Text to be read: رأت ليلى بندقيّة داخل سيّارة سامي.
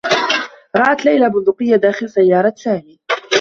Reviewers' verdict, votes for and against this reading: accepted, 2, 1